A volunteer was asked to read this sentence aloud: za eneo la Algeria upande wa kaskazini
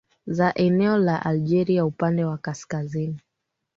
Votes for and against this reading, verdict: 2, 0, accepted